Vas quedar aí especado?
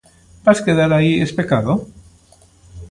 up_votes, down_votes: 2, 0